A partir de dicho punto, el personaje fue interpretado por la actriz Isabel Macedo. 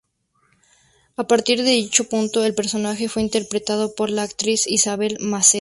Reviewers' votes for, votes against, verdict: 4, 2, accepted